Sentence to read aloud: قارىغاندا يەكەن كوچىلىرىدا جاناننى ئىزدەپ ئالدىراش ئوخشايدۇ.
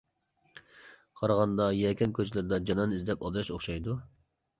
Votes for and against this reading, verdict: 1, 2, rejected